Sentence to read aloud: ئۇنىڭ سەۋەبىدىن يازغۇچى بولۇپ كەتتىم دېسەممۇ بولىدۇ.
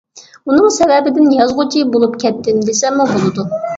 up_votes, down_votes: 2, 0